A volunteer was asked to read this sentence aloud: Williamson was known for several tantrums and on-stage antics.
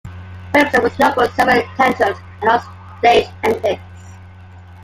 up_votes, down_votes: 0, 2